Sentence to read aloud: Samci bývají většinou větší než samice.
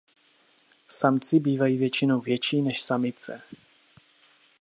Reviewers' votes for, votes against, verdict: 2, 0, accepted